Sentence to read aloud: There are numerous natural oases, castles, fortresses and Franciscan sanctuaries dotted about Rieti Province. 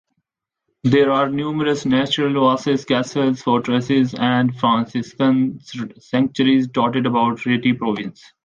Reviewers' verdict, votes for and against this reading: accepted, 2, 0